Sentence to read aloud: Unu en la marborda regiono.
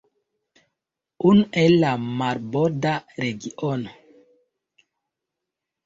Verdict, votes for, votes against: accepted, 2, 1